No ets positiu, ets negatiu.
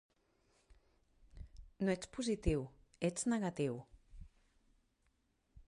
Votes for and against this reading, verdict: 3, 0, accepted